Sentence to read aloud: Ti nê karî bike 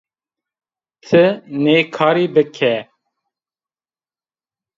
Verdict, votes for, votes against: accepted, 2, 0